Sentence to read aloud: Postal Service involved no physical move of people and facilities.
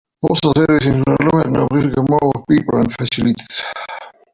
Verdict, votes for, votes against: rejected, 0, 2